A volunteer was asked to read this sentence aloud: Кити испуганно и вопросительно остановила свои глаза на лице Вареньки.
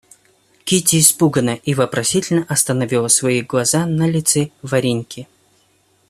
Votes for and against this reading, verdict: 1, 2, rejected